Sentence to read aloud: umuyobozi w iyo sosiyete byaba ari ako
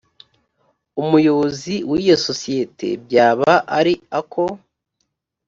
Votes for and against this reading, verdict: 2, 0, accepted